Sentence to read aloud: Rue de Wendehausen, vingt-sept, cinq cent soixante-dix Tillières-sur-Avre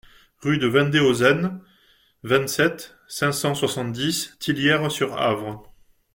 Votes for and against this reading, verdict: 2, 0, accepted